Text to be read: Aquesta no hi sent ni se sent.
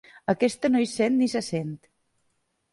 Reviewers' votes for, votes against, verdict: 2, 0, accepted